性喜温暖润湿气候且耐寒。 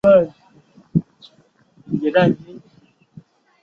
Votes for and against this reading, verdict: 0, 5, rejected